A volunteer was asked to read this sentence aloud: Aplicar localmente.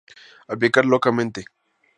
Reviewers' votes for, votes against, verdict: 2, 0, accepted